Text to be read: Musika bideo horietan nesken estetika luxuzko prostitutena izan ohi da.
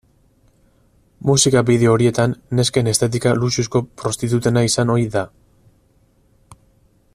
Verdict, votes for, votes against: accepted, 4, 2